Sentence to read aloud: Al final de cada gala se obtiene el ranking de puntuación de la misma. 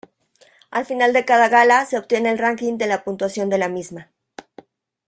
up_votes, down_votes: 0, 2